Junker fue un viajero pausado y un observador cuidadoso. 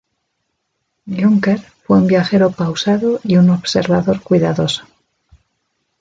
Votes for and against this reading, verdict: 1, 2, rejected